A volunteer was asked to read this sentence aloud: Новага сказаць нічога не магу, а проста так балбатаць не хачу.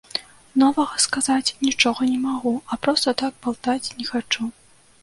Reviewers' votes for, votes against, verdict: 0, 2, rejected